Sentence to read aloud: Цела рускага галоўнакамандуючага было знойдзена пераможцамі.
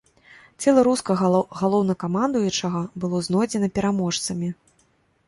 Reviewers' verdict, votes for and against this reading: rejected, 1, 2